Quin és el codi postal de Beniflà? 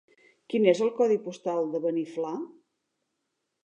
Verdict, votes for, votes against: accepted, 2, 0